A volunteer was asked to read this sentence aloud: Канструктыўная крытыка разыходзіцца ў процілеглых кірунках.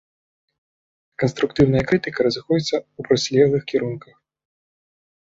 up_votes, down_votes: 2, 0